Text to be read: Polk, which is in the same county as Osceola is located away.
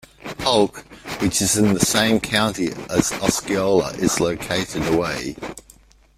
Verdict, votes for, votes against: rejected, 1, 2